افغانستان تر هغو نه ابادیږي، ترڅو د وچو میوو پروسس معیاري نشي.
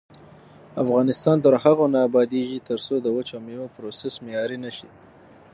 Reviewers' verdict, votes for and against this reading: accepted, 6, 3